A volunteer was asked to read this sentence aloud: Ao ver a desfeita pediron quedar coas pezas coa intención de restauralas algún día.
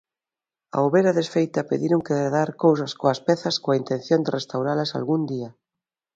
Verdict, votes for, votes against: rejected, 0, 2